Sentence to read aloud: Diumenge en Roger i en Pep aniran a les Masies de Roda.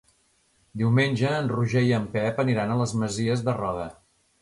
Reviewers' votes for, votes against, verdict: 3, 0, accepted